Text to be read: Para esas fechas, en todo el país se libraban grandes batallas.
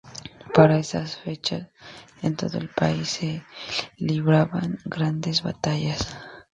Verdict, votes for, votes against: accepted, 2, 0